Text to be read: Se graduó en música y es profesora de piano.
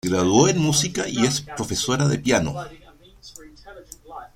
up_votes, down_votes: 2, 1